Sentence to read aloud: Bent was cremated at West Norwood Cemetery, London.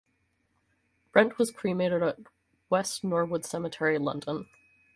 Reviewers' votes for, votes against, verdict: 0, 4, rejected